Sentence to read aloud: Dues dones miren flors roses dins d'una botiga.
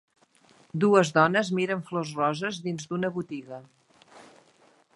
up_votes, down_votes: 2, 0